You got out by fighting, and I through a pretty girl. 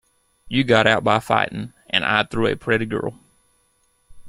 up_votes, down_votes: 2, 0